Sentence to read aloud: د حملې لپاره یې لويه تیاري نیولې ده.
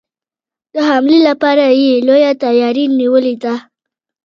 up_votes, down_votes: 2, 0